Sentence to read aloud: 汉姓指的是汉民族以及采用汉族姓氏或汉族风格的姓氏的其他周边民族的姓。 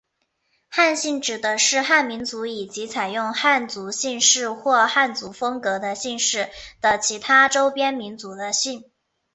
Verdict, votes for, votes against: accepted, 5, 0